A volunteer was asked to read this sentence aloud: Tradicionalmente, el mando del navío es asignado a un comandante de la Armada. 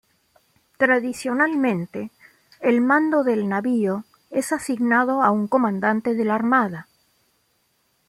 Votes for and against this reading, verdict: 2, 0, accepted